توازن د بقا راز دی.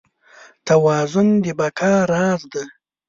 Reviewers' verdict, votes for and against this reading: accepted, 2, 0